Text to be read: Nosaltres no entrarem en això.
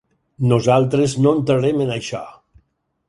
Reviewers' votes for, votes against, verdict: 4, 0, accepted